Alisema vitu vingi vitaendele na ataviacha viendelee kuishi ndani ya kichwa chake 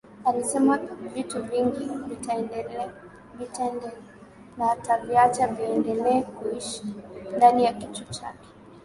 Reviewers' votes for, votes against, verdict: 0, 2, rejected